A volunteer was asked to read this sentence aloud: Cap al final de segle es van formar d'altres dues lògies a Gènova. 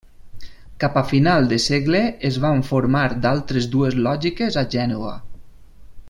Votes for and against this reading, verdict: 0, 2, rejected